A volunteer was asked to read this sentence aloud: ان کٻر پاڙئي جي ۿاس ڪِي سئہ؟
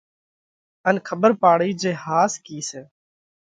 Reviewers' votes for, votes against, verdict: 2, 0, accepted